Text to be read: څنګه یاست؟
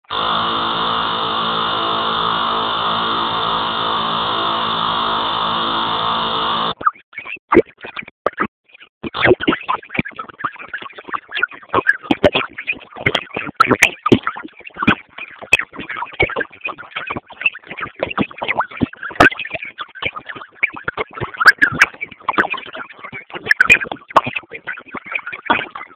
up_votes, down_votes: 1, 2